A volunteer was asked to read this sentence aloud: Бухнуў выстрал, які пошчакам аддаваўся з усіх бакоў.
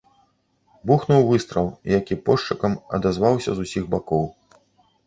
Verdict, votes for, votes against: rejected, 0, 2